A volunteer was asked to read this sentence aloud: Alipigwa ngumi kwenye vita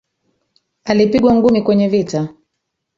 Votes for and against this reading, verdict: 4, 1, accepted